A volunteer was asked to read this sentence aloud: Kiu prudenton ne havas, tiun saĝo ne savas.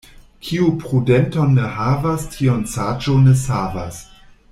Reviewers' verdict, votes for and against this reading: accepted, 2, 0